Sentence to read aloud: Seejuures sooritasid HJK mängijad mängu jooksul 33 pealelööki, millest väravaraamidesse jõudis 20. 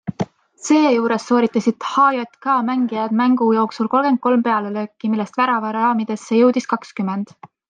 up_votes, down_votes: 0, 2